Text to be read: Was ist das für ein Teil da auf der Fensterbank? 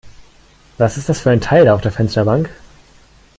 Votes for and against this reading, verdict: 2, 0, accepted